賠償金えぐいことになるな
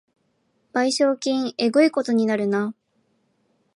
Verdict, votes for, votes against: accepted, 2, 0